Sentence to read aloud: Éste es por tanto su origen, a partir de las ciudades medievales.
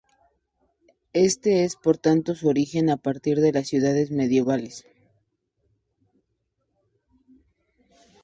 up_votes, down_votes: 2, 0